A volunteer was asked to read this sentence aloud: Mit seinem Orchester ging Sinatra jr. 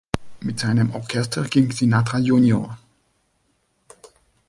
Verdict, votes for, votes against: accepted, 2, 1